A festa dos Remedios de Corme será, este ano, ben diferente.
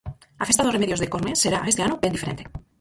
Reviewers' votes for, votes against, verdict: 0, 4, rejected